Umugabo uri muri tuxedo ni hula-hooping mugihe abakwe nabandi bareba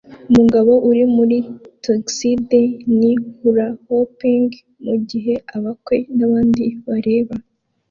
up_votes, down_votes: 2, 0